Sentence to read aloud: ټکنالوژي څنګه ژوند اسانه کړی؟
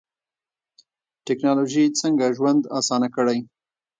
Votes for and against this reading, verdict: 1, 2, rejected